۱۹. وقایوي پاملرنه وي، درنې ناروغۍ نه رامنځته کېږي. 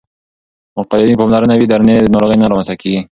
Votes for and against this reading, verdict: 0, 2, rejected